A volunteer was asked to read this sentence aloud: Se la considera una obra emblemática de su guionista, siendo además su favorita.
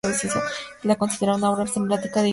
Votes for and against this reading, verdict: 0, 2, rejected